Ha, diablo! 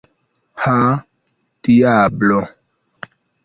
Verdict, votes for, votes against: rejected, 0, 2